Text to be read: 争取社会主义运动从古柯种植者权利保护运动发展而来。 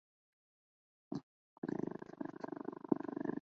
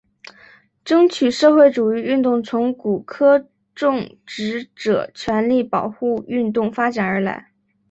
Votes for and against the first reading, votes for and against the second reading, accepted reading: 0, 2, 2, 0, second